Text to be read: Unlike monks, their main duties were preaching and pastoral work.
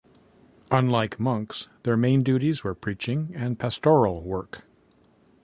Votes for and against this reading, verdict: 2, 0, accepted